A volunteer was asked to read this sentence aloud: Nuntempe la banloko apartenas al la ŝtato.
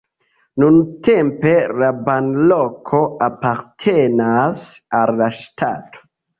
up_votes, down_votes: 2, 1